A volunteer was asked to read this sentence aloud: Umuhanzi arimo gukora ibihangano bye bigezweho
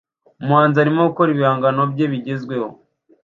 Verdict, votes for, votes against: accepted, 2, 0